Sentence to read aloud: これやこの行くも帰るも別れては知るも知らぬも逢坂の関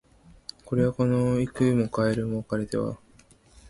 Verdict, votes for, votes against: rejected, 0, 2